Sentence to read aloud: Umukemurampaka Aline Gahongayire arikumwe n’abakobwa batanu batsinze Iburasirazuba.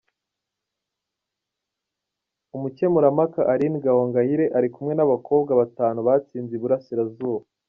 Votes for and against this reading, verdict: 2, 0, accepted